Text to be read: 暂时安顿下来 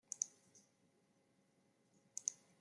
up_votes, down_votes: 0, 2